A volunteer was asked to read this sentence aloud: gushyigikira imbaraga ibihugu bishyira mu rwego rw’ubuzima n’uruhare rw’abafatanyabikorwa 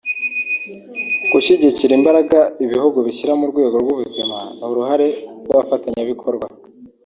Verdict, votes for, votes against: accepted, 3, 0